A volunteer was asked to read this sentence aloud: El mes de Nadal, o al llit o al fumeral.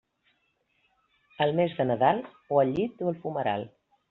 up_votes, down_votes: 2, 0